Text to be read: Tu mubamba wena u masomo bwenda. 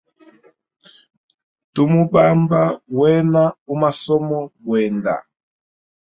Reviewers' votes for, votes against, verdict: 2, 0, accepted